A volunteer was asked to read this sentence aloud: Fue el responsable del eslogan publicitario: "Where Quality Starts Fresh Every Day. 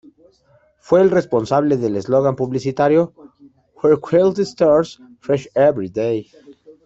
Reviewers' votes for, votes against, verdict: 1, 2, rejected